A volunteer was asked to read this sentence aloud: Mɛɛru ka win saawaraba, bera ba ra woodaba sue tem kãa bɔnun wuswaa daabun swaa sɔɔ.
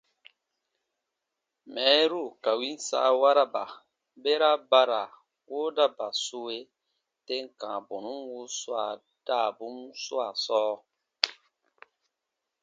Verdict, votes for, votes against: accepted, 2, 0